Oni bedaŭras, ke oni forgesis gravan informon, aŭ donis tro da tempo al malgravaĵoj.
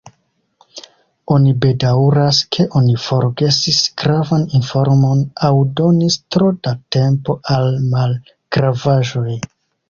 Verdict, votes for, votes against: accepted, 2, 0